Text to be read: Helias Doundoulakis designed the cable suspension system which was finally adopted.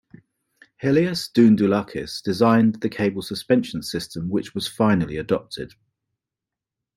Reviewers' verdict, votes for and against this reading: accepted, 2, 0